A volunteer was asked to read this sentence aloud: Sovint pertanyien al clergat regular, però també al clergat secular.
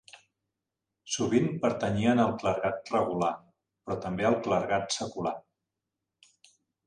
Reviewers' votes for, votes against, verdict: 2, 1, accepted